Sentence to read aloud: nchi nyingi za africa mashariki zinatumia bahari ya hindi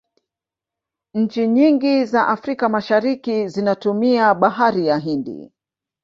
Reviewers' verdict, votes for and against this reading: accepted, 2, 0